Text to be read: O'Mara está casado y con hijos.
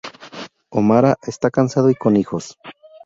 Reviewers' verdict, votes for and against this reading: rejected, 0, 2